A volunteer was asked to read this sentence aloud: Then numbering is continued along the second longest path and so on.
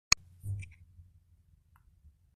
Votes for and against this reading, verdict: 1, 2, rejected